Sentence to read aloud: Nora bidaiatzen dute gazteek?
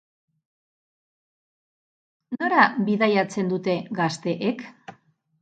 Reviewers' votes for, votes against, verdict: 6, 0, accepted